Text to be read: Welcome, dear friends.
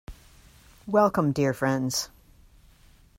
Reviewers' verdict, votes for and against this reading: accepted, 2, 0